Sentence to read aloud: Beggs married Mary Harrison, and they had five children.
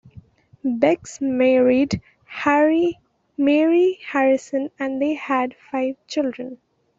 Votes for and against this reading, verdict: 1, 2, rejected